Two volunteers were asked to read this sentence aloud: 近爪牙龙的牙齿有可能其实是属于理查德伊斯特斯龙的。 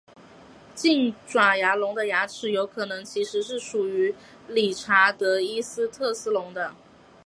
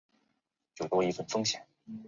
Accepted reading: first